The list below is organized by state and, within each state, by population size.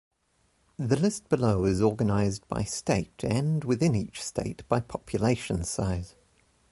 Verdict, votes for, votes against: accepted, 2, 0